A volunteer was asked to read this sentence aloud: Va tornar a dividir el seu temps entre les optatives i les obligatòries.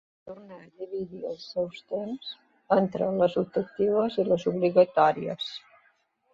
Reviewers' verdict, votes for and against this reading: rejected, 1, 2